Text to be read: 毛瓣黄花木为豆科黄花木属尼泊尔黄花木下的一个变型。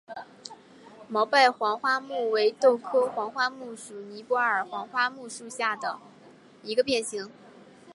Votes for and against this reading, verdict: 2, 0, accepted